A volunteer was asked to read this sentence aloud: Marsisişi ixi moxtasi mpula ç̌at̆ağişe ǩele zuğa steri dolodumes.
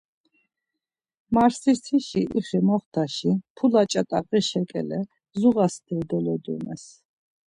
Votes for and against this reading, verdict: 1, 2, rejected